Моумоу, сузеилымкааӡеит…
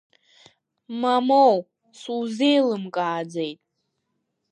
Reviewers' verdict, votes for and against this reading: accepted, 3, 1